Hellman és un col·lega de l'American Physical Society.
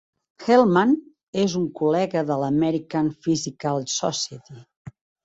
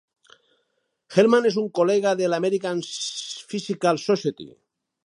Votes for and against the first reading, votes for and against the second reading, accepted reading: 2, 0, 2, 2, first